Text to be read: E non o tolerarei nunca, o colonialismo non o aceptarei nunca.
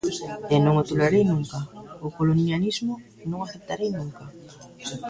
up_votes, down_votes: 0, 2